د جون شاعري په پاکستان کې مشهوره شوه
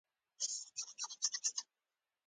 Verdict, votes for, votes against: rejected, 0, 2